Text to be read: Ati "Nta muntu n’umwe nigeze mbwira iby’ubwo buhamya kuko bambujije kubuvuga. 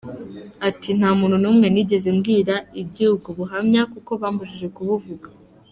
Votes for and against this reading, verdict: 2, 0, accepted